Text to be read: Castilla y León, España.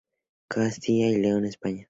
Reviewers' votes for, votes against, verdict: 0, 2, rejected